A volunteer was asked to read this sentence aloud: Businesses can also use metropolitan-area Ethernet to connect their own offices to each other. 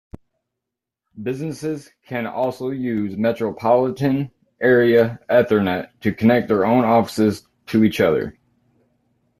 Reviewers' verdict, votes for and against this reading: accepted, 2, 0